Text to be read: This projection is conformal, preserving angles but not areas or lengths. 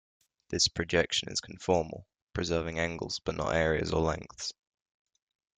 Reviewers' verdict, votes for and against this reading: accepted, 2, 0